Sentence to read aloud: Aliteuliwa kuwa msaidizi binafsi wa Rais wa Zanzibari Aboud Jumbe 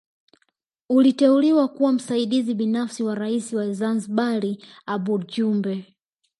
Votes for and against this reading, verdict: 1, 2, rejected